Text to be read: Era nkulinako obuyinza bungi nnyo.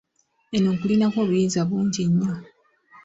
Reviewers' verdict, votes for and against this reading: rejected, 0, 2